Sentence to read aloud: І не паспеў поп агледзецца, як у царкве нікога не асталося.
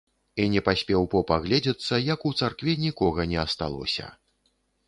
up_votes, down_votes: 2, 0